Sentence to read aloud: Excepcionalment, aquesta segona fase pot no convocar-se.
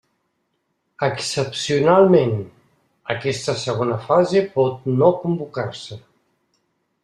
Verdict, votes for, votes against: accepted, 3, 1